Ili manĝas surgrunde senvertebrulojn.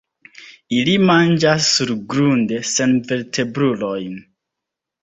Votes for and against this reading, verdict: 2, 0, accepted